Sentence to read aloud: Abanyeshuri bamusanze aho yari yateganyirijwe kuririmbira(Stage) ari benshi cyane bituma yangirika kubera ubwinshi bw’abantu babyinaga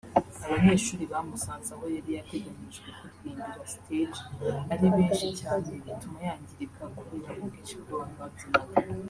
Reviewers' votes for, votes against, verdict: 0, 2, rejected